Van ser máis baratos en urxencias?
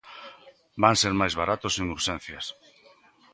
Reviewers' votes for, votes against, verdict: 2, 0, accepted